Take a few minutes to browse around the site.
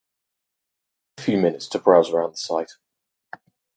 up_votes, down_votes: 2, 4